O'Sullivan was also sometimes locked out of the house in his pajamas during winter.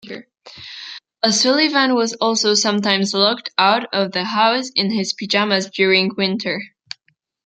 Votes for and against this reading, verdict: 2, 0, accepted